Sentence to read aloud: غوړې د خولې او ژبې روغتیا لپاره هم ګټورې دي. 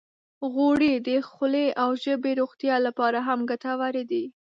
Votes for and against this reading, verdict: 1, 2, rejected